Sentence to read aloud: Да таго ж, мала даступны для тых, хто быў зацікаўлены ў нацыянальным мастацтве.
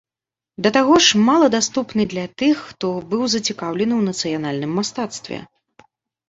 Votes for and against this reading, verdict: 2, 0, accepted